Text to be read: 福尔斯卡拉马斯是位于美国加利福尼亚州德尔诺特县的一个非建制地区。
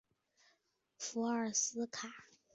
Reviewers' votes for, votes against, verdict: 0, 2, rejected